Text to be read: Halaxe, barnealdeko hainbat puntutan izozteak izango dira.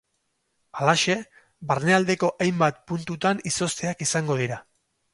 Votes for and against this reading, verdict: 2, 0, accepted